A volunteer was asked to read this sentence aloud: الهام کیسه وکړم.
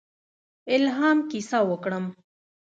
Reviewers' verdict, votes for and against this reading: rejected, 1, 2